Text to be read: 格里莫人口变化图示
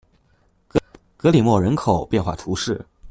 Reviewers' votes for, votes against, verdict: 0, 2, rejected